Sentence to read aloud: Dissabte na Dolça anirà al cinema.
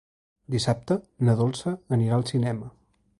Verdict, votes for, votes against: accepted, 2, 0